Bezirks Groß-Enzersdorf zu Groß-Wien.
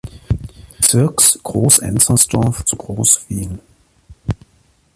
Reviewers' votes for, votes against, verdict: 2, 0, accepted